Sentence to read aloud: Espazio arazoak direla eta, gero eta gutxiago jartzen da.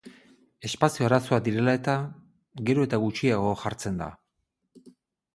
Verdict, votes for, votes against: accepted, 4, 0